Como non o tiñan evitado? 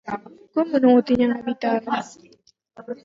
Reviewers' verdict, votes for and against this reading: rejected, 0, 4